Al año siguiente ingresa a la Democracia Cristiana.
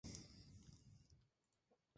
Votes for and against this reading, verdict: 0, 2, rejected